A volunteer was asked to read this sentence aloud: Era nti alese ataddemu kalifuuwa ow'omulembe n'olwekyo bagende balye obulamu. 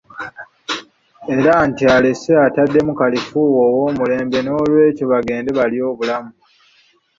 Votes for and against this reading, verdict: 2, 0, accepted